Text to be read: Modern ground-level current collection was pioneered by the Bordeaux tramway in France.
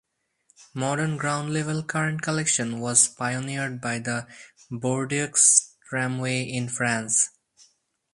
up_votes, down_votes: 2, 2